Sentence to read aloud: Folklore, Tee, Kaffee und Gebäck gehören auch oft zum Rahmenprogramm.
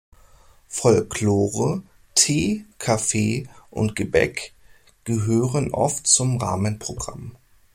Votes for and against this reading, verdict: 0, 2, rejected